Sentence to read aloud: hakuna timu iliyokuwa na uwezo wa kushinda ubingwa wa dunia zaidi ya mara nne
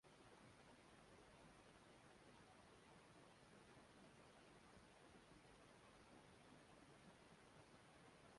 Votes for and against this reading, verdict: 0, 2, rejected